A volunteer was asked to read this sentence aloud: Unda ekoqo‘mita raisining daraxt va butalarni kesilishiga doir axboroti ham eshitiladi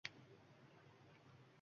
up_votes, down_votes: 1, 2